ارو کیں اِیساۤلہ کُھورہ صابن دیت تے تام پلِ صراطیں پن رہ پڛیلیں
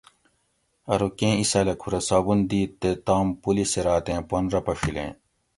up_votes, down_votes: 2, 0